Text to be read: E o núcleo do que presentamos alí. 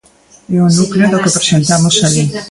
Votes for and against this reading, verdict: 0, 3, rejected